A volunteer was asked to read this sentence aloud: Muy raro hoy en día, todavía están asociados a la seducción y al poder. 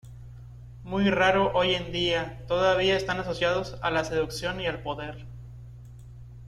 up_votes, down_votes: 2, 0